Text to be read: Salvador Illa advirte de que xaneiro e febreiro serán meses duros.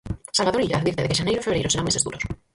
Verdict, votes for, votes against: rejected, 0, 4